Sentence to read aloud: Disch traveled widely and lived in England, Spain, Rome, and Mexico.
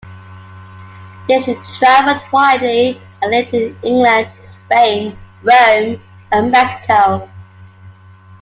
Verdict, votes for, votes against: accepted, 2, 1